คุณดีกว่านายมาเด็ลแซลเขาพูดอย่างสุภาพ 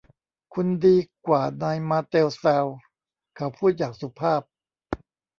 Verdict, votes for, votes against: rejected, 1, 2